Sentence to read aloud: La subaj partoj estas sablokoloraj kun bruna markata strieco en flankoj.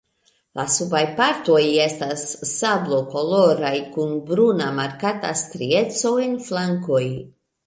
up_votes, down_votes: 2, 0